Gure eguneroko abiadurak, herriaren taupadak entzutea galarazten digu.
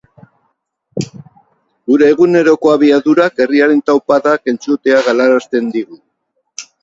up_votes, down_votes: 4, 0